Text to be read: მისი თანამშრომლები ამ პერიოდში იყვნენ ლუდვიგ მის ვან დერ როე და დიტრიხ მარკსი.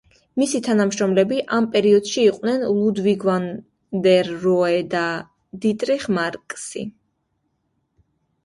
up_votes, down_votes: 1, 2